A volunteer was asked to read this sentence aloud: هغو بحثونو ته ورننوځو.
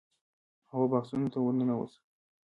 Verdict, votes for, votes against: rejected, 1, 2